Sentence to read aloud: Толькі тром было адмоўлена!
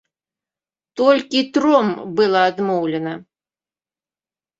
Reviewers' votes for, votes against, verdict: 1, 2, rejected